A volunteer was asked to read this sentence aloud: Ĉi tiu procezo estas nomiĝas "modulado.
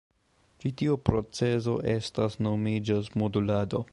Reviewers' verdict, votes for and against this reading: accepted, 2, 1